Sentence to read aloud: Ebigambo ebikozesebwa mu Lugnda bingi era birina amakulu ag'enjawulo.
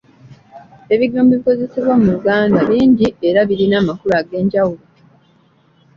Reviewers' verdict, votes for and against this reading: accepted, 2, 1